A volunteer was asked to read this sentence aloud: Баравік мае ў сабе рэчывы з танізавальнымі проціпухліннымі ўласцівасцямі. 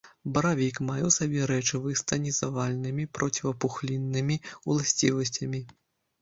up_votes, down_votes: 1, 2